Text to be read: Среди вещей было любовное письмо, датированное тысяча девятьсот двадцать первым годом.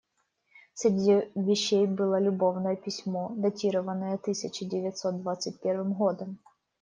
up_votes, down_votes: 2, 1